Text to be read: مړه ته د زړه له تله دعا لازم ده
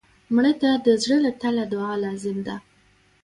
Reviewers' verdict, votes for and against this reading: rejected, 1, 2